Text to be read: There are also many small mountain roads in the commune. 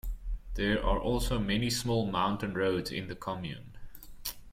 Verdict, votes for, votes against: accepted, 2, 1